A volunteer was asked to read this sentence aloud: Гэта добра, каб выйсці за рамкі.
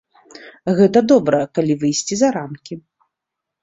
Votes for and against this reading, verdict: 1, 2, rejected